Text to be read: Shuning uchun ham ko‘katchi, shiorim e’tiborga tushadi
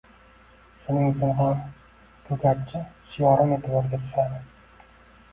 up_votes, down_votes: 0, 2